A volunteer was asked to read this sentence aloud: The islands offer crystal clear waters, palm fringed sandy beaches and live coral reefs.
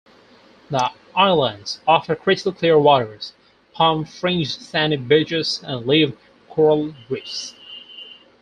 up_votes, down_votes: 2, 4